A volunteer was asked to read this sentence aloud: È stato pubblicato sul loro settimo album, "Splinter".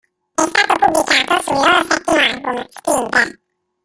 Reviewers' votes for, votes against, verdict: 0, 2, rejected